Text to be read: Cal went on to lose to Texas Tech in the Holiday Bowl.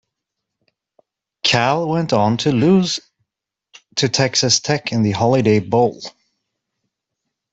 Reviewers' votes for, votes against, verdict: 2, 0, accepted